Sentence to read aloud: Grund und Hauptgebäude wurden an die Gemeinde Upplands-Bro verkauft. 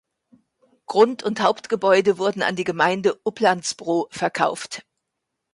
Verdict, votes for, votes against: accepted, 2, 0